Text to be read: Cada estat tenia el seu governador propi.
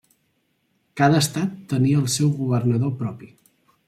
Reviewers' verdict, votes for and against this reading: accepted, 3, 0